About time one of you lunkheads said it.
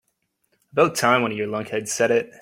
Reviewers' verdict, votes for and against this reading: accepted, 2, 0